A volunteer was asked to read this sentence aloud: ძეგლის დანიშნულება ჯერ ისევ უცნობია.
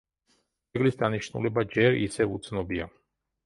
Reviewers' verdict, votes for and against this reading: rejected, 0, 2